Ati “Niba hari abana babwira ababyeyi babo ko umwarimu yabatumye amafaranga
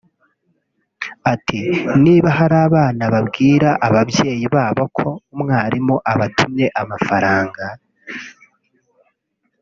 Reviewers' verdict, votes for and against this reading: rejected, 0, 3